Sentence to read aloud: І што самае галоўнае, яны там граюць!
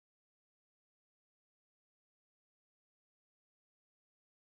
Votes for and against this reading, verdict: 0, 3, rejected